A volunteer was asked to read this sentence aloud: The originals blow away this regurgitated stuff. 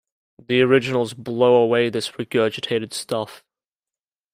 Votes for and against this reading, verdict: 2, 0, accepted